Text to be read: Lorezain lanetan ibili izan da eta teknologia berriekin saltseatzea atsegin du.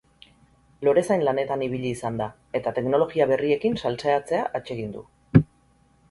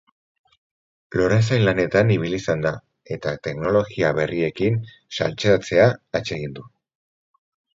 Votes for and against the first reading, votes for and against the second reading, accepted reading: 0, 2, 6, 0, second